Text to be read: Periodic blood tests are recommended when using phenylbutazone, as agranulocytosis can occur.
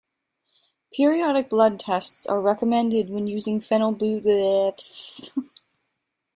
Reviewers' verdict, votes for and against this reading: rejected, 0, 2